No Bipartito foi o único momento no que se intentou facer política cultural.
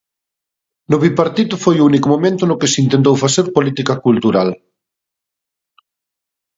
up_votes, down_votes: 1, 2